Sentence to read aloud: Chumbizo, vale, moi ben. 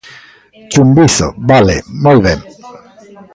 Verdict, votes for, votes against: rejected, 1, 2